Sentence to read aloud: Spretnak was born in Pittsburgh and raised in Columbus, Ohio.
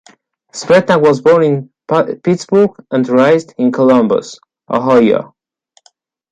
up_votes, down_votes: 0, 2